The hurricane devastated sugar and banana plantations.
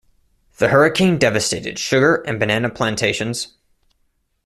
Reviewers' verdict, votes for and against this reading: accepted, 2, 0